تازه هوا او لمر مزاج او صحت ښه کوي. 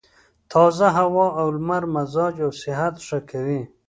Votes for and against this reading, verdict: 2, 0, accepted